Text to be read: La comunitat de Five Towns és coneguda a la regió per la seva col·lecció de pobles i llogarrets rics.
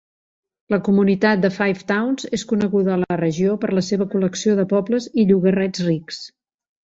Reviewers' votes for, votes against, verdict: 2, 0, accepted